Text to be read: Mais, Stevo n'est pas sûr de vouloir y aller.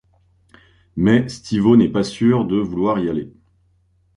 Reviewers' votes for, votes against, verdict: 3, 0, accepted